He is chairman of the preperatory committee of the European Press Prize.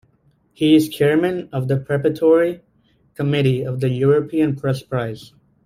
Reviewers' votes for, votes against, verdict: 0, 2, rejected